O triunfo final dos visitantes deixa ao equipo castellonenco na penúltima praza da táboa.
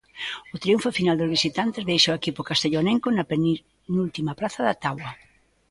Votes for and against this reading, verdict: 0, 2, rejected